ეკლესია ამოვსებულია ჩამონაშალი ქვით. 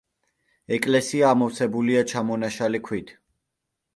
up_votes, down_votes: 2, 0